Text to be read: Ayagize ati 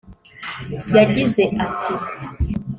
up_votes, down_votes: 0, 2